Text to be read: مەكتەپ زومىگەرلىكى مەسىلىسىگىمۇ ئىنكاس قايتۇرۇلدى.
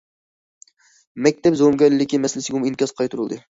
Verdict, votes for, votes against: accepted, 2, 0